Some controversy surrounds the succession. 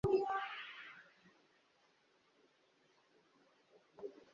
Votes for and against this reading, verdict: 0, 2, rejected